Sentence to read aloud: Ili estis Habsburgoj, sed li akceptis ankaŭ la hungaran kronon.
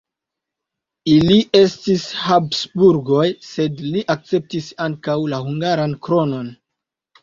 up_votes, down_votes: 0, 2